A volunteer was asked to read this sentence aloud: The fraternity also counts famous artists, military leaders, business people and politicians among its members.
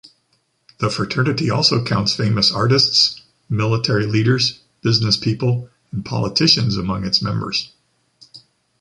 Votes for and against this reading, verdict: 2, 0, accepted